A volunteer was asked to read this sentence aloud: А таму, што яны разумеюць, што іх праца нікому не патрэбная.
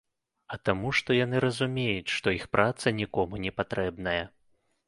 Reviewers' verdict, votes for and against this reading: accepted, 2, 0